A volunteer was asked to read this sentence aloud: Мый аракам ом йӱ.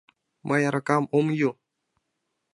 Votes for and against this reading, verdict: 1, 2, rejected